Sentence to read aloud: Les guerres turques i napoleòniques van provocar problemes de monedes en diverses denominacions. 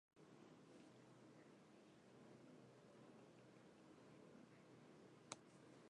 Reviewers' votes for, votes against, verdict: 0, 2, rejected